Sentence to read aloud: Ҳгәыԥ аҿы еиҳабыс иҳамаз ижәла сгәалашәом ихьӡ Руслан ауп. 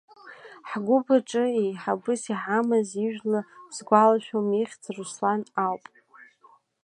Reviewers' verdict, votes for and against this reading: accepted, 2, 0